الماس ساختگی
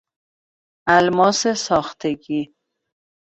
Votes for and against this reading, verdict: 2, 0, accepted